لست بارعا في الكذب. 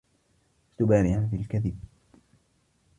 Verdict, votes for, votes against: rejected, 1, 2